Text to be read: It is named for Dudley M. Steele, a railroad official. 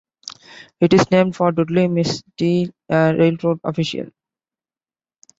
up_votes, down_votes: 0, 2